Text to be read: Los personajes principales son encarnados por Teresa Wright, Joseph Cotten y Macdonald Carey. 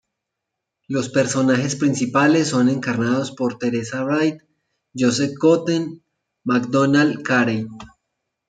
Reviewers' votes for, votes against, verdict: 1, 2, rejected